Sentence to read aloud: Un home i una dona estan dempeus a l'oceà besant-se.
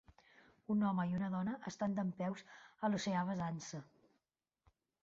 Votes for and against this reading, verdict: 0, 2, rejected